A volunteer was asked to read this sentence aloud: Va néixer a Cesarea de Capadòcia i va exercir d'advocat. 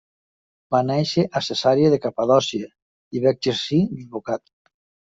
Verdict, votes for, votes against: accepted, 2, 1